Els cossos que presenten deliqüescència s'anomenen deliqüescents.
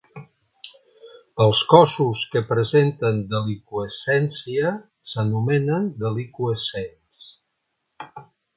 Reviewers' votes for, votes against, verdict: 2, 0, accepted